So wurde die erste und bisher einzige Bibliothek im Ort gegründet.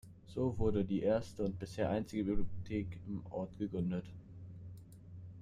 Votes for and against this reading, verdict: 1, 2, rejected